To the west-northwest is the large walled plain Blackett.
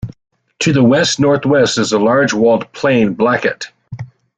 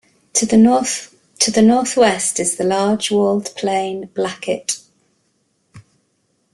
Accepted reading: first